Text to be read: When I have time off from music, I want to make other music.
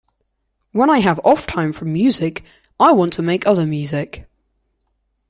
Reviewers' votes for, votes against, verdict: 0, 2, rejected